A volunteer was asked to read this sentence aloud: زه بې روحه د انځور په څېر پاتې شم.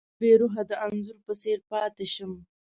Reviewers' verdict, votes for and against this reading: rejected, 1, 2